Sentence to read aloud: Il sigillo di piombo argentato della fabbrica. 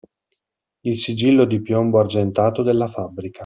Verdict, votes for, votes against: accepted, 2, 0